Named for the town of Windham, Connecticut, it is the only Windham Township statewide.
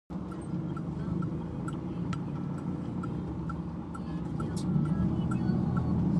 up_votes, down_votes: 0, 2